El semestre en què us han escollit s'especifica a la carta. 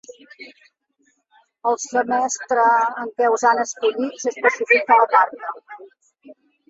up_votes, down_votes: 1, 2